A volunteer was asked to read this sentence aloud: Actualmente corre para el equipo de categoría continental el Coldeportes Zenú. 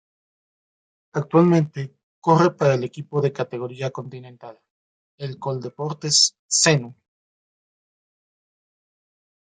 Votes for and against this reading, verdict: 1, 2, rejected